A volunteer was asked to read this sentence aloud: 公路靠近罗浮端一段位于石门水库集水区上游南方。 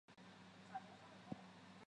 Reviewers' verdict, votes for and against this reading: rejected, 1, 2